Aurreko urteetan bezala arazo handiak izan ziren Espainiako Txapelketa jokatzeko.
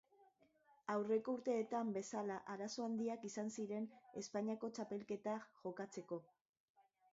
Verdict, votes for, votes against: accepted, 3, 1